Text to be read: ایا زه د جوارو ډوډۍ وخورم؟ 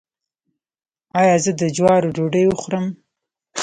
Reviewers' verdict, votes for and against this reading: rejected, 1, 2